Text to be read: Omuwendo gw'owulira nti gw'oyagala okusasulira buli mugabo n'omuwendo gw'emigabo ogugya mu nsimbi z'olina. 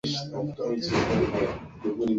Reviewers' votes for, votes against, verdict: 0, 2, rejected